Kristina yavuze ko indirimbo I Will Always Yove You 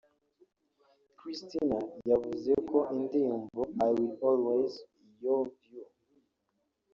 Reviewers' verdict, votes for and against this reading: rejected, 1, 2